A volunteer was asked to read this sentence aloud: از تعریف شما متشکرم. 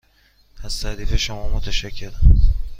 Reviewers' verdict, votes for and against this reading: accepted, 2, 0